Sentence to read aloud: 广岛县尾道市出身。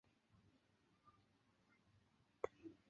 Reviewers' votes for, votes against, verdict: 1, 3, rejected